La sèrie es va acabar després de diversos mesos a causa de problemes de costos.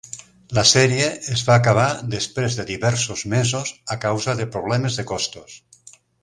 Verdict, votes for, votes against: accepted, 4, 0